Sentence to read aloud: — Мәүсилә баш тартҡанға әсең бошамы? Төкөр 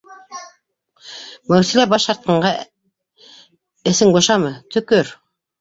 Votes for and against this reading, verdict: 1, 2, rejected